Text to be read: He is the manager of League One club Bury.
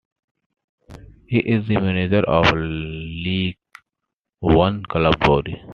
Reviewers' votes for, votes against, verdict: 0, 2, rejected